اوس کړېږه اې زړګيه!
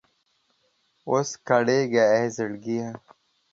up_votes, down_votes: 2, 0